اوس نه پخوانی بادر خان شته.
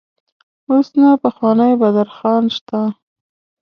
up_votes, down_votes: 2, 0